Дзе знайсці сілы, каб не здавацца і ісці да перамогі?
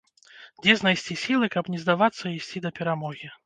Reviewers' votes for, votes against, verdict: 2, 0, accepted